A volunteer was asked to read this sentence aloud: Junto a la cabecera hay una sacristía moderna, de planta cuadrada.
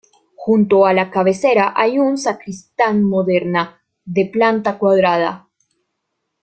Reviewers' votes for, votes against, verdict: 1, 2, rejected